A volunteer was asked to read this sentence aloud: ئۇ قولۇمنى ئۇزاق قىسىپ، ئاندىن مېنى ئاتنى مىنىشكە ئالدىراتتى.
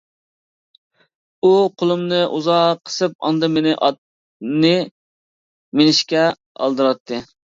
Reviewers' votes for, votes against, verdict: 2, 0, accepted